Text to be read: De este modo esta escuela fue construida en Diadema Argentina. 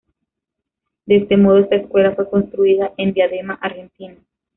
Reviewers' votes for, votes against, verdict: 1, 2, rejected